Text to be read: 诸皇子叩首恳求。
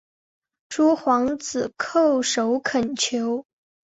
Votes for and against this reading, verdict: 3, 0, accepted